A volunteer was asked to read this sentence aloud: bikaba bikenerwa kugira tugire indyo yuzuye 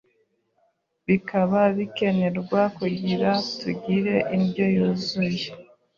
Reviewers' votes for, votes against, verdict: 2, 0, accepted